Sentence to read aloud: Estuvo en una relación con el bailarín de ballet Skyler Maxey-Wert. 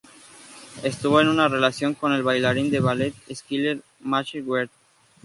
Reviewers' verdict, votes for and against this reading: accepted, 2, 0